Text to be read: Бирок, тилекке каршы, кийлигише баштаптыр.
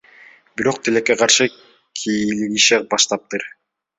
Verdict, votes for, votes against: rejected, 1, 2